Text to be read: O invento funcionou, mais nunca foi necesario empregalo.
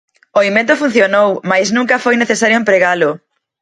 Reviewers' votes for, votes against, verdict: 2, 0, accepted